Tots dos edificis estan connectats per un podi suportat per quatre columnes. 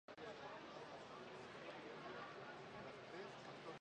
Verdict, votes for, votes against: rejected, 0, 2